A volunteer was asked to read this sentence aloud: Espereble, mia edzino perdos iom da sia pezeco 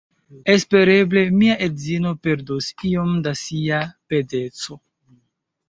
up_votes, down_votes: 0, 2